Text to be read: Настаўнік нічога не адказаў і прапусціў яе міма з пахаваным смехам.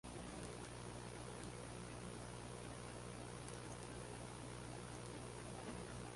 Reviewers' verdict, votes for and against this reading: rejected, 0, 2